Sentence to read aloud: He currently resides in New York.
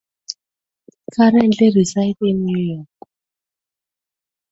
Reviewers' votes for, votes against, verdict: 2, 0, accepted